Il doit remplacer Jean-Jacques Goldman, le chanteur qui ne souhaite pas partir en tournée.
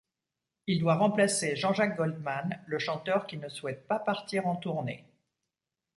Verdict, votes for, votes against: accepted, 2, 0